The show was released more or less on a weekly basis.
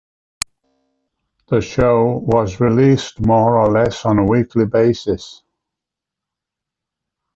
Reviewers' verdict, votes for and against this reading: accepted, 2, 0